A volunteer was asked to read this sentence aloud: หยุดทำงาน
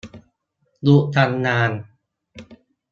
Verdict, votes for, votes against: accepted, 2, 1